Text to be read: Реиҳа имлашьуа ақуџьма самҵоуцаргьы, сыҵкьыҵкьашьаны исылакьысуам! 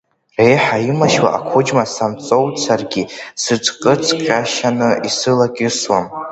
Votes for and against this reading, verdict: 0, 2, rejected